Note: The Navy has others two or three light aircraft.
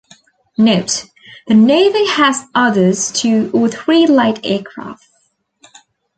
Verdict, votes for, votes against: accepted, 2, 0